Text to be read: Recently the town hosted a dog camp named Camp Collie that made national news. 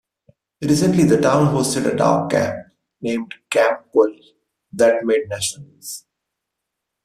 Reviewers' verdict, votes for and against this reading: rejected, 1, 2